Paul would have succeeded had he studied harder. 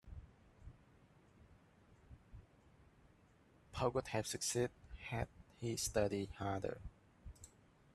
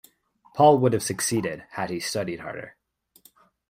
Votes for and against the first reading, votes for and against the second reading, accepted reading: 0, 2, 2, 0, second